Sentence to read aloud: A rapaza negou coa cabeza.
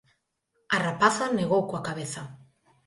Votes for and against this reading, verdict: 2, 0, accepted